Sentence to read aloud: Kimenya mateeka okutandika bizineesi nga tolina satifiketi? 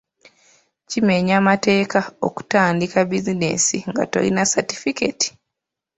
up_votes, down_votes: 1, 2